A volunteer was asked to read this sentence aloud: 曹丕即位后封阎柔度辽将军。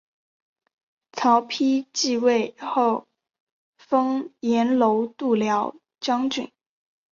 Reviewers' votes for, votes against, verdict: 3, 2, accepted